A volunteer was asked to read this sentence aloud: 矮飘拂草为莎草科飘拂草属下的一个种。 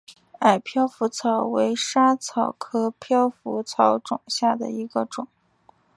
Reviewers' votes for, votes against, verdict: 6, 0, accepted